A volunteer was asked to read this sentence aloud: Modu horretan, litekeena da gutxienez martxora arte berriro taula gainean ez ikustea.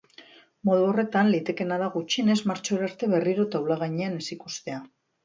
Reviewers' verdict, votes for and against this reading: accepted, 2, 1